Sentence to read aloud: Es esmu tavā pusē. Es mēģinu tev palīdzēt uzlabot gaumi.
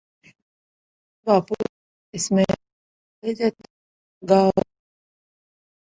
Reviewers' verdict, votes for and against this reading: rejected, 0, 2